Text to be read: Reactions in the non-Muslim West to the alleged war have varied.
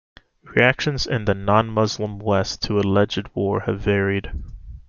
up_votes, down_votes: 2, 1